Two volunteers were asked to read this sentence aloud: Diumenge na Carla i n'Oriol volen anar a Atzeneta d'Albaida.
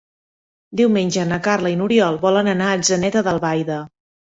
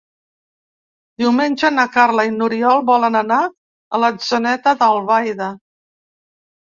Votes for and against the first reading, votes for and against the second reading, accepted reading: 3, 0, 1, 2, first